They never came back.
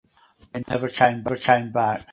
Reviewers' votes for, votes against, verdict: 0, 4, rejected